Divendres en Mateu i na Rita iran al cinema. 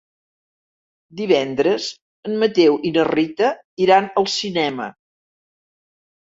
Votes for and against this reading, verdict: 3, 0, accepted